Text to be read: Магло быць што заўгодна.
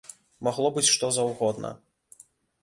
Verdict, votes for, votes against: accepted, 2, 0